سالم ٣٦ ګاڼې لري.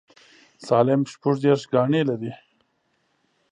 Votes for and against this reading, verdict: 0, 2, rejected